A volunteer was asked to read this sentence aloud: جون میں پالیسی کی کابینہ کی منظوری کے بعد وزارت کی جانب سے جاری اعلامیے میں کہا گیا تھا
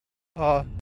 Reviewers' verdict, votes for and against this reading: rejected, 0, 2